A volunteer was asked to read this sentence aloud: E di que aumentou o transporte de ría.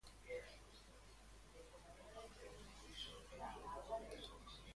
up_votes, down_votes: 0, 2